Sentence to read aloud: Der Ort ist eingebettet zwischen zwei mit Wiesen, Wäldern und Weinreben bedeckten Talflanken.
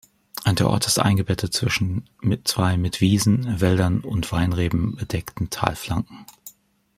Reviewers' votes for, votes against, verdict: 1, 3, rejected